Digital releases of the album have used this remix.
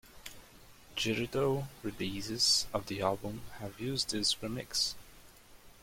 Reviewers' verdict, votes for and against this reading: accepted, 2, 0